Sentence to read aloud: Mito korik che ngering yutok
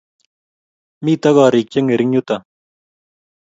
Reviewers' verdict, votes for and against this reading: accepted, 2, 0